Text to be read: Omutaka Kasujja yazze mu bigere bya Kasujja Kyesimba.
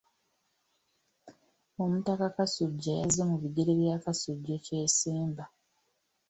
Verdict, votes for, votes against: accepted, 2, 1